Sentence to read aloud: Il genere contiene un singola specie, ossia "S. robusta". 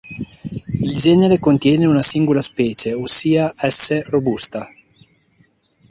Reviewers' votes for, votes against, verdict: 2, 0, accepted